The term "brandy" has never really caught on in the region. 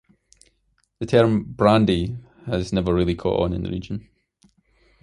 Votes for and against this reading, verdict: 2, 0, accepted